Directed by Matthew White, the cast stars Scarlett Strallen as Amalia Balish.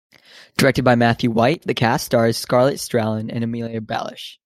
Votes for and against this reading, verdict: 2, 1, accepted